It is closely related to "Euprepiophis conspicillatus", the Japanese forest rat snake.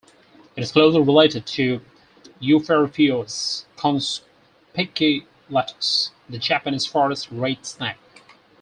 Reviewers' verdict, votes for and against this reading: rejected, 2, 4